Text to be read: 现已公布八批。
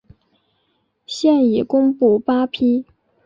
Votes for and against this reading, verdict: 3, 1, accepted